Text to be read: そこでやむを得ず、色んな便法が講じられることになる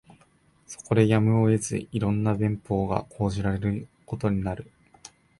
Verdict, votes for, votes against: rejected, 0, 2